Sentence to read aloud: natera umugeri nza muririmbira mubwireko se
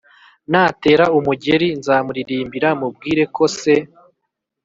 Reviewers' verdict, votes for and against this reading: accepted, 3, 0